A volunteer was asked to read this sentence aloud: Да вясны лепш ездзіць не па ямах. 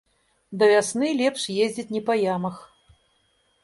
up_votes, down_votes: 2, 0